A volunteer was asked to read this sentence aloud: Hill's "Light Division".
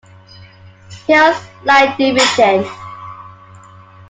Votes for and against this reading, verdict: 2, 1, accepted